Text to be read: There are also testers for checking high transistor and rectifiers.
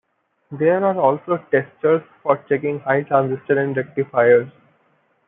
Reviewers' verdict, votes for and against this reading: rejected, 0, 2